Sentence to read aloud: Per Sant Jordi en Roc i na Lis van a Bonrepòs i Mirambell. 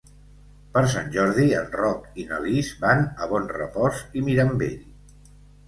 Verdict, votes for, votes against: accepted, 2, 0